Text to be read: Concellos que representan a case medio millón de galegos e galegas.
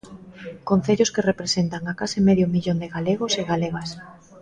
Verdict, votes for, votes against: accepted, 2, 0